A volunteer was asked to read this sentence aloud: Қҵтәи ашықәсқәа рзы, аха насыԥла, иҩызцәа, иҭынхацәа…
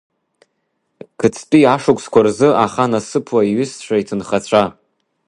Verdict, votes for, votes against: accepted, 2, 1